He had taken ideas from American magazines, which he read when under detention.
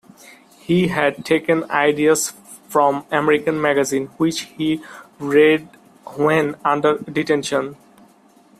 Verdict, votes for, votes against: accepted, 2, 0